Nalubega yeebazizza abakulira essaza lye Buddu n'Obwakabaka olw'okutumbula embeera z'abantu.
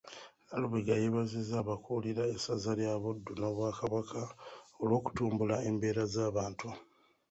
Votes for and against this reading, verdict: 1, 2, rejected